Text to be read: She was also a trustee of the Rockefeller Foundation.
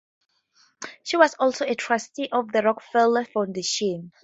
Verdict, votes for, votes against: accepted, 2, 0